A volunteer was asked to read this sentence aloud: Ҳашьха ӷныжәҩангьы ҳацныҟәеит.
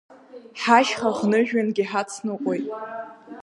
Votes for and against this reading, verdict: 0, 2, rejected